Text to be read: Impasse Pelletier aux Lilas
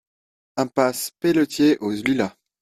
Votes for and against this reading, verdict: 1, 2, rejected